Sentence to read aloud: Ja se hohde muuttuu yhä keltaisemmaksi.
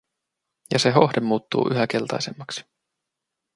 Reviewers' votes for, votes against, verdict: 2, 0, accepted